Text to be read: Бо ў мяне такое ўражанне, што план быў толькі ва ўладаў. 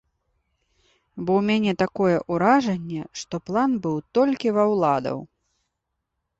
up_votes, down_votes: 2, 0